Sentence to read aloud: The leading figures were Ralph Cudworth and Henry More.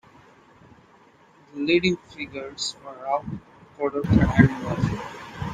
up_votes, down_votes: 1, 2